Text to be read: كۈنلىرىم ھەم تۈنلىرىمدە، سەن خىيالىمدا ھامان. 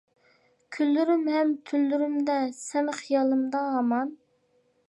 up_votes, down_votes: 2, 1